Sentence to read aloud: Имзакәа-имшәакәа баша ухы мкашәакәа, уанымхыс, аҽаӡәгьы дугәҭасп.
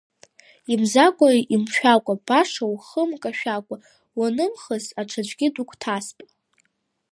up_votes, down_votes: 2, 0